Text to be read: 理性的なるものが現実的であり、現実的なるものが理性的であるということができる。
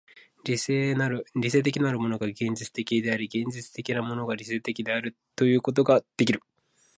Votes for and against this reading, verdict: 2, 1, accepted